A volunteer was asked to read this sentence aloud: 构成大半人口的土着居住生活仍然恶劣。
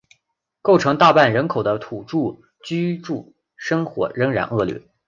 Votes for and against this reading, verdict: 0, 2, rejected